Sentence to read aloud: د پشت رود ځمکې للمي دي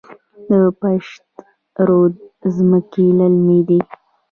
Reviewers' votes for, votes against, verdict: 2, 1, accepted